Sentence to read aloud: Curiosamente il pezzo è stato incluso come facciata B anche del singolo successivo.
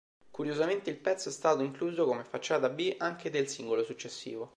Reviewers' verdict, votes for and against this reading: accepted, 2, 0